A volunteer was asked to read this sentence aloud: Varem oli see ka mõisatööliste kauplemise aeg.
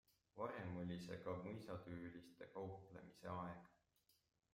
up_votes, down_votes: 1, 2